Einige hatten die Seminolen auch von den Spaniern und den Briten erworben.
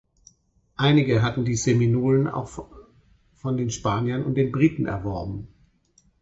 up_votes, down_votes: 0, 4